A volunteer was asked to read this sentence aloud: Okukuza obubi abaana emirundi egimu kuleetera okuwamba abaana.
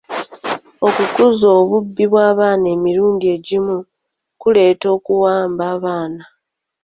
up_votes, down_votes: 0, 2